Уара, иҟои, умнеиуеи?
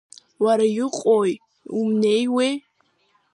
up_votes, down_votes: 2, 0